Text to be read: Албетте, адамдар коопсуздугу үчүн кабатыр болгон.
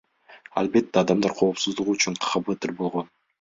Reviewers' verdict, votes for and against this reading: rejected, 1, 2